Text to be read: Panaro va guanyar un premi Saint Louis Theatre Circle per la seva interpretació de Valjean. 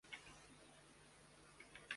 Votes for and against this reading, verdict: 0, 2, rejected